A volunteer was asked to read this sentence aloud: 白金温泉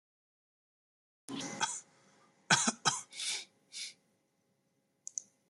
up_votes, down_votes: 0, 2